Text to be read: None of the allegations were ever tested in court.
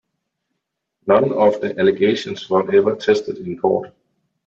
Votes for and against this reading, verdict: 2, 0, accepted